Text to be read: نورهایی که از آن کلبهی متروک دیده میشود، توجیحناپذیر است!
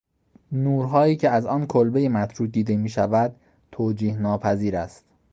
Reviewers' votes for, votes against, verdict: 3, 0, accepted